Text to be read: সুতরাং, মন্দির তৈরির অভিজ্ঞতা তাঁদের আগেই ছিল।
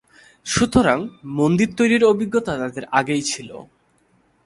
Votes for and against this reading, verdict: 3, 0, accepted